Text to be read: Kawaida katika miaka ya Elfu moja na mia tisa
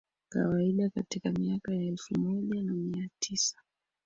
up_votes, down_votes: 2, 1